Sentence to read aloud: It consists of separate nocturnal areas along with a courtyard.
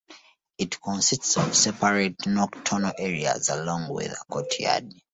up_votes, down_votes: 2, 1